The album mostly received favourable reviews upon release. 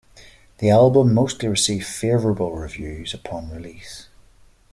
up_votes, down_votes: 2, 0